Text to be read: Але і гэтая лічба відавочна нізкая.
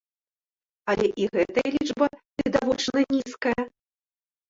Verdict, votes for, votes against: rejected, 1, 2